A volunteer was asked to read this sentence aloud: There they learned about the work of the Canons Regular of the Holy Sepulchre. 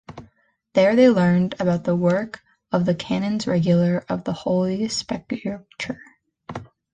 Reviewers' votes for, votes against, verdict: 2, 0, accepted